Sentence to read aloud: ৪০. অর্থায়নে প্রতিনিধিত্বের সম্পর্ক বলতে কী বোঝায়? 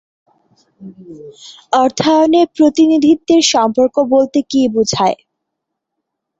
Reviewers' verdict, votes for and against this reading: rejected, 0, 2